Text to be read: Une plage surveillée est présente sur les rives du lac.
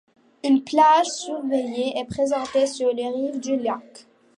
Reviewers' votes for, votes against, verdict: 0, 2, rejected